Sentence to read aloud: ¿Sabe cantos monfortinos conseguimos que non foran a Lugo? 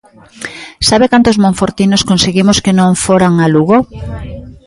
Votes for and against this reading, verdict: 0, 2, rejected